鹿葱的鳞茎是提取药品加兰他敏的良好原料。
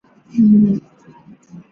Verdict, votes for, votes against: rejected, 0, 3